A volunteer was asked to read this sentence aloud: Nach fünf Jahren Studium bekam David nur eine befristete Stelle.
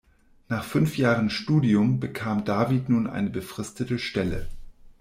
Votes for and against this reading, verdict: 0, 2, rejected